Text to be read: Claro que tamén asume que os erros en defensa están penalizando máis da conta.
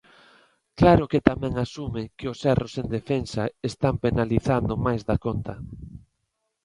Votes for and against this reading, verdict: 2, 0, accepted